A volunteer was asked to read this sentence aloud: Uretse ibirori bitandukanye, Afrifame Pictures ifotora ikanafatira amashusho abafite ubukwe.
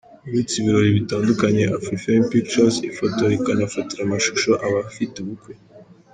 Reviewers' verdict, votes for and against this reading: accepted, 2, 0